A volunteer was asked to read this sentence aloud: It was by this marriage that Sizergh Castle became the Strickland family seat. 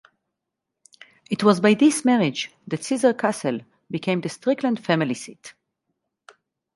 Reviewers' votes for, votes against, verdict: 4, 0, accepted